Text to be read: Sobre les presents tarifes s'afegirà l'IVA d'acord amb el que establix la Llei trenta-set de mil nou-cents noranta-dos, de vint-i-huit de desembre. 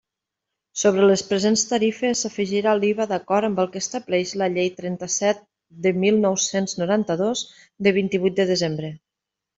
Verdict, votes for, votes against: accepted, 2, 0